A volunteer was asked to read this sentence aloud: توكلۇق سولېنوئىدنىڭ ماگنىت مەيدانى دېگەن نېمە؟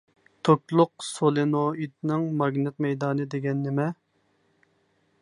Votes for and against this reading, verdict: 2, 0, accepted